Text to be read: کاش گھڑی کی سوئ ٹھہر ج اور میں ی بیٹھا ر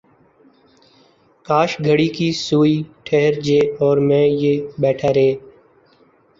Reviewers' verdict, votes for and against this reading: accepted, 2, 0